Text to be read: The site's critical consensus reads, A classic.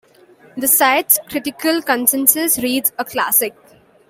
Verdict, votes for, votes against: accepted, 2, 0